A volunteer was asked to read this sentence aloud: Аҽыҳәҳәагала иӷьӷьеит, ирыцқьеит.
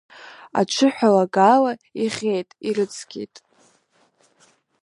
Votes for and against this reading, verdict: 2, 3, rejected